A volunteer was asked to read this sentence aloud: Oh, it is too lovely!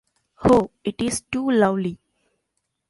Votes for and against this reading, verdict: 1, 2, rejected